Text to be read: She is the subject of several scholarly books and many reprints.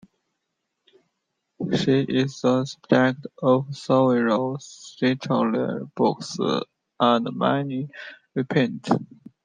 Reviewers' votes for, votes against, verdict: 0, 2, rejected